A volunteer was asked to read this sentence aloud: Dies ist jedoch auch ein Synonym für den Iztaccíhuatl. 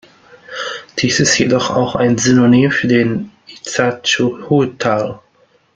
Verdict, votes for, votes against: rejected, 0, 2